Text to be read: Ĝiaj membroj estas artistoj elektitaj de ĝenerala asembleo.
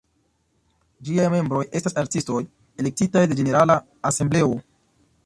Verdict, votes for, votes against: accepted, 2, 0